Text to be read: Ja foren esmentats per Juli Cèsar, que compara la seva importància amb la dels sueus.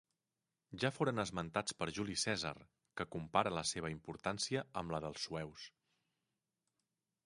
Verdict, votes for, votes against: accepted, 3, 0